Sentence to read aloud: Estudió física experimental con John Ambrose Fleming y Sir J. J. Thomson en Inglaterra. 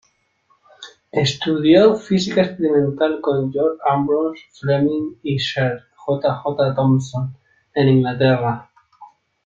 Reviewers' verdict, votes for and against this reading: accepted, 2, 0